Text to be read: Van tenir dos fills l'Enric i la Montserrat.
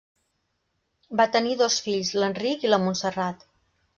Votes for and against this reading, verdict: 0, 2, rejected